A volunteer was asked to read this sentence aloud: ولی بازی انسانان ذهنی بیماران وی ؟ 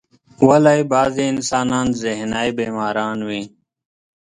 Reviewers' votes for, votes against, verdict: 0, 2, rejected